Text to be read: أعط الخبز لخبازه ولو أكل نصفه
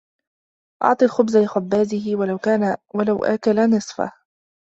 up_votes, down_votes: 1, 2